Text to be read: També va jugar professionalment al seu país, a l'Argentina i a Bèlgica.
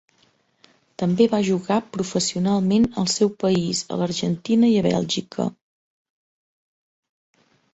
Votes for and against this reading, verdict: 3, 0, accepted